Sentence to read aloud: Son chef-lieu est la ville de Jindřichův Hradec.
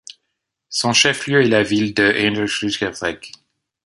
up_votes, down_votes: 1, 2